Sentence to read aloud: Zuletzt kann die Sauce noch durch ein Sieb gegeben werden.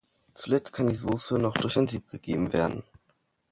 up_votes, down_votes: 3, 0